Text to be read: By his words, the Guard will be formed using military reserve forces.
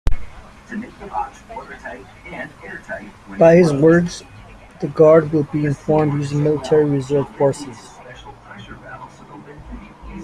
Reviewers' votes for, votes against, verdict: 1, 2, rejected